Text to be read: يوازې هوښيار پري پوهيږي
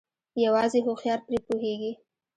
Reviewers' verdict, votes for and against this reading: rejected, 1, 2